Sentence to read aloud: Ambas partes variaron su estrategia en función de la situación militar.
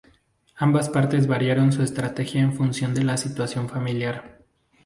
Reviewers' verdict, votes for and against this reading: rejected, 2, 2